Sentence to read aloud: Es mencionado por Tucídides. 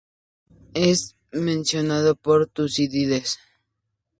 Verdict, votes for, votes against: accepted, 2, 0